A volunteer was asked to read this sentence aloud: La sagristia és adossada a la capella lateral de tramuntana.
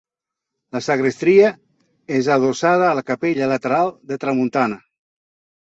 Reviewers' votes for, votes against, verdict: 1, 2, rejected